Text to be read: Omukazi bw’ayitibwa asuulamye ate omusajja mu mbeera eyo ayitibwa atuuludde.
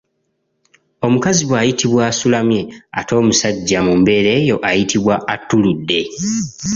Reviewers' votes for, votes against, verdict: 2, 0, accepted